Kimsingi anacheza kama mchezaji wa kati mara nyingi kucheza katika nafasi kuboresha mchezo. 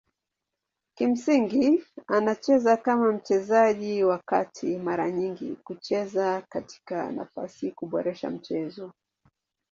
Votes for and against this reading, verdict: 10, 1, accepted